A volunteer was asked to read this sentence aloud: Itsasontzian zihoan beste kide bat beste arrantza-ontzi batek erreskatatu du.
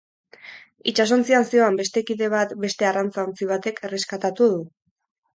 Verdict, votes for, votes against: accepted, 4, 0